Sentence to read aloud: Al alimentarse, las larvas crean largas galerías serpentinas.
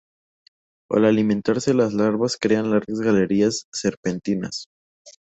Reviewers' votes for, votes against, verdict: 4, 0, accepted